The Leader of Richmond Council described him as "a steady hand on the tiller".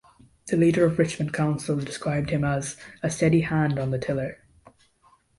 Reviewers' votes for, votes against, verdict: 2, 0, accepted